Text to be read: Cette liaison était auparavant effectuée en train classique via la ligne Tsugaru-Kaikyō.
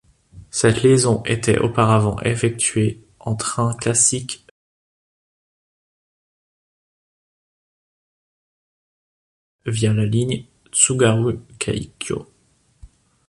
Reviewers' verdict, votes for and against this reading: rejected, 0, 2